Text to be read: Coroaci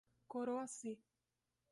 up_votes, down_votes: 2, 0